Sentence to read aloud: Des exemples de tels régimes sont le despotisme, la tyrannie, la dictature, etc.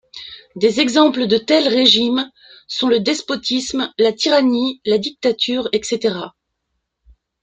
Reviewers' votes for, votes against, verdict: 2, 0, accepted